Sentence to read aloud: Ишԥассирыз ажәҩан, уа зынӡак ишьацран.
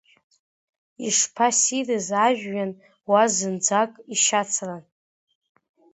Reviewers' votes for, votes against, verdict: 2, 0, accepted